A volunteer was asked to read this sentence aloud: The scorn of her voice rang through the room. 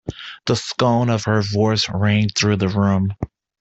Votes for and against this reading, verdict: 2, 0, accepted